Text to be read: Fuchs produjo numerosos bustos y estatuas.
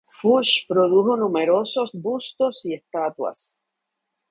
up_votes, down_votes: 2, 0